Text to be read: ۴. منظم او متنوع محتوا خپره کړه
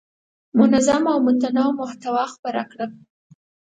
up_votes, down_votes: 0, 2